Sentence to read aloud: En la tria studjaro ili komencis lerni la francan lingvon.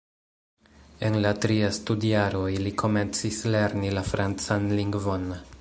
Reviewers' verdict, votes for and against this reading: rejected, 1, 2